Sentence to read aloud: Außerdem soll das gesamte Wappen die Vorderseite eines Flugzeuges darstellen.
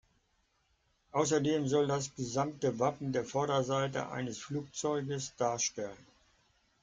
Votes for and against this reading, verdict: 0, 2, rejected